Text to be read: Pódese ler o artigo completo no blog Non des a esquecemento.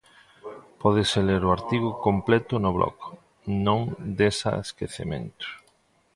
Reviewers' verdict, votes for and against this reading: accepted, 2, 0